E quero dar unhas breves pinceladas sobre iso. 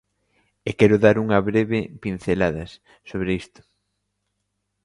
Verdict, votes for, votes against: rejected, 0, 2